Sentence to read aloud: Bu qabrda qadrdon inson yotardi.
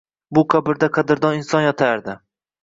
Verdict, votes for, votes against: accepted, 2, 0